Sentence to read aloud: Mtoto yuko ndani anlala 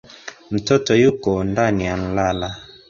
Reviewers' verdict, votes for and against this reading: accepted, 2, 1